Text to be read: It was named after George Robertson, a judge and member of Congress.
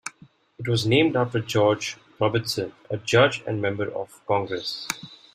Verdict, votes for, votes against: accepted, 2, 0